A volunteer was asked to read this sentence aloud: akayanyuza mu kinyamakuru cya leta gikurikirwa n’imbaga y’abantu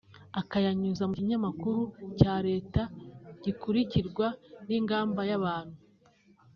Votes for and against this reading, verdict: 0, 2, rejected